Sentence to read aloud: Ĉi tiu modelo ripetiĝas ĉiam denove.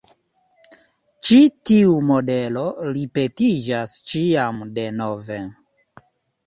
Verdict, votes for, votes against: rejected, 1, 2